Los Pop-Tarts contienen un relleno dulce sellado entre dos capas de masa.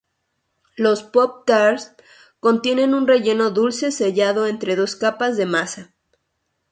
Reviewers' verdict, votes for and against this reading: accepted, 2, 0